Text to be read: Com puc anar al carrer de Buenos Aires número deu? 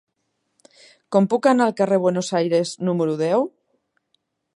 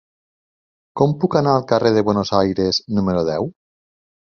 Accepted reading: second